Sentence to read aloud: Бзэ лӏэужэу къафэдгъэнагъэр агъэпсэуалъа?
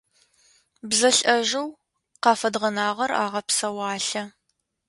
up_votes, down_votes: 0, 2